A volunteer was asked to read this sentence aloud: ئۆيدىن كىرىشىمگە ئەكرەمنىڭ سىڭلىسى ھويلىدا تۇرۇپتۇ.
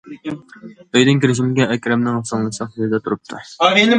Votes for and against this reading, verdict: 0, 2, rejected